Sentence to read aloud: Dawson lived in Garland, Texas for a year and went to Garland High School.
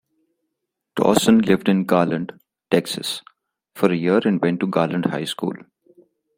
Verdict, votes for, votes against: rejected, 1, 2